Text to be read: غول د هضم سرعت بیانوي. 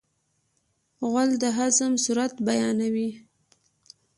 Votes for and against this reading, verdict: 3, 0, accepted